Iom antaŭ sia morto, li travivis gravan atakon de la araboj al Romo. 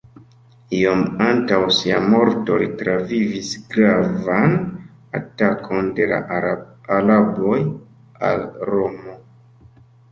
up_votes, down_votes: 0, 2